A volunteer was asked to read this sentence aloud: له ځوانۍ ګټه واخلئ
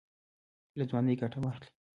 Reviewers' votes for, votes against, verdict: 1, 2, rejected